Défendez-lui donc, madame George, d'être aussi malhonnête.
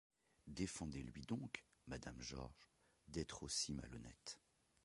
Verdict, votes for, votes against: rejected, 1, 2